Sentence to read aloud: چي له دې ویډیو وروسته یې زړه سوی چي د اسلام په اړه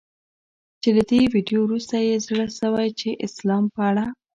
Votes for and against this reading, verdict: 1, 2, rejected